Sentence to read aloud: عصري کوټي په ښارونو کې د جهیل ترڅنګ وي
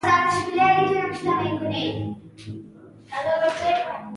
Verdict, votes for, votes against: rejected, 0, 2